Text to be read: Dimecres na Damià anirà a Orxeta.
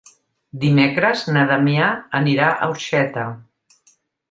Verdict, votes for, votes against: accepted, 3, 0